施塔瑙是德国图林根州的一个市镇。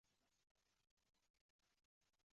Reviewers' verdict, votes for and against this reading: rejected, 0, 2